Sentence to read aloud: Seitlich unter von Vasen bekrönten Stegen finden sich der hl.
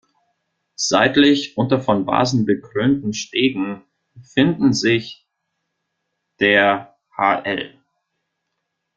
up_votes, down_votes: 1, 2